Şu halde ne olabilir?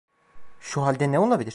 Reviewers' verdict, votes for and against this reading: accepted, 2, 0